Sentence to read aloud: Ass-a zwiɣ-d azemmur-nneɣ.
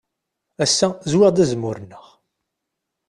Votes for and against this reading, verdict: 3, 0, accepted